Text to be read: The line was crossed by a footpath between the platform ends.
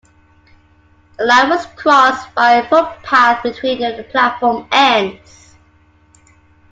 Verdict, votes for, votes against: accepted, 2, 1